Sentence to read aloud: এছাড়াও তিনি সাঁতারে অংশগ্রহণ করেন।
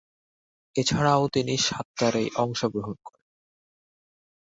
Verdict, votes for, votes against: rejected, 1, 4